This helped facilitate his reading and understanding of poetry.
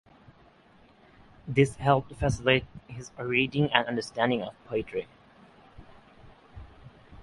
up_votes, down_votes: 6, 3